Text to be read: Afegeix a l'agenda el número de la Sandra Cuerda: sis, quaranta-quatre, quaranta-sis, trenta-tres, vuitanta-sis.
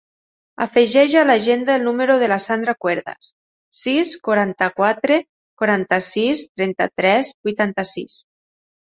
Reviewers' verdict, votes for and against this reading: rejected, 1, 2